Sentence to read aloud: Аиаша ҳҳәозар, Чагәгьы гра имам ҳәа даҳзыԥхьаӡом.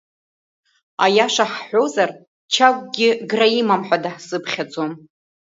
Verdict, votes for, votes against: accepted, 2, 0